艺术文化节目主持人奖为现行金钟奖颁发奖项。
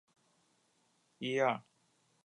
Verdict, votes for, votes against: rejected, 0, 3